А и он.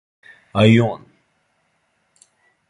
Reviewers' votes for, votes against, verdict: 2, 0, accepted